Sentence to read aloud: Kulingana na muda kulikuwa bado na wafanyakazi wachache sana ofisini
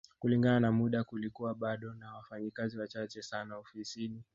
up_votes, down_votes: 2, 1